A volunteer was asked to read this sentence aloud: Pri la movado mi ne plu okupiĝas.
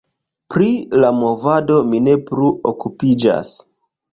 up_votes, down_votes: 2, 1